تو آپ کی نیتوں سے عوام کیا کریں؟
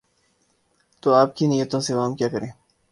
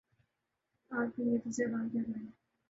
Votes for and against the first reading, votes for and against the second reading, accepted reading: 2, 0, 0, 2, first